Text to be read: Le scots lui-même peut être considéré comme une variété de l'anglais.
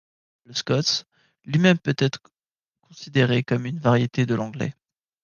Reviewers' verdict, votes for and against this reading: accepted, 2, 1